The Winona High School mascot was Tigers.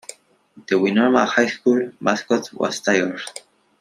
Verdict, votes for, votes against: accepted, 2, 0